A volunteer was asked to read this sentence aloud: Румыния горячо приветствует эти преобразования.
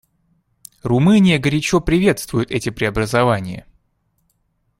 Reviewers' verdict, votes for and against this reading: accepted, 2, 0